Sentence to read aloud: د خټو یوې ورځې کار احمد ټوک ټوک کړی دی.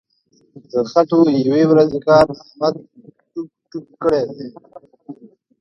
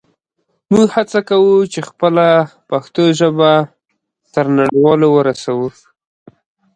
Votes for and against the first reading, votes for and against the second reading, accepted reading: 2, 0, 0, 2, first